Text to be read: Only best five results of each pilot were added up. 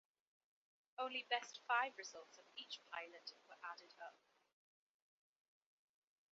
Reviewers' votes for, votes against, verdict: 2, 1, accepted